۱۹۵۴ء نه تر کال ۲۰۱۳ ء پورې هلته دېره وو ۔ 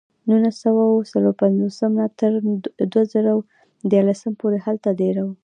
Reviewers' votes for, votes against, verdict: 0, 2, rejected